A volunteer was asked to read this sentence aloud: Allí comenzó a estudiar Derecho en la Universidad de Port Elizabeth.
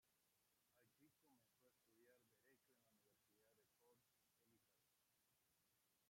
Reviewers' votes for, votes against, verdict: 0, 2, rejected